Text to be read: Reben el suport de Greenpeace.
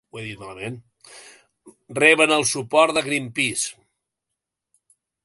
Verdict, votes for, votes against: rejected, 0, 2